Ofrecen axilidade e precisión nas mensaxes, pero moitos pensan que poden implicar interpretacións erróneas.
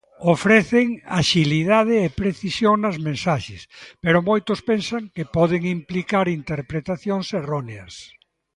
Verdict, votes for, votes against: accepted, 2, 0